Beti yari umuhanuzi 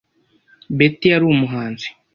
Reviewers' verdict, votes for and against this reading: rejected, 0, 2